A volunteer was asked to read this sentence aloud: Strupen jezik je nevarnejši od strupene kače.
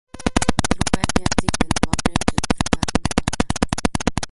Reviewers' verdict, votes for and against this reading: rejected, 0, 2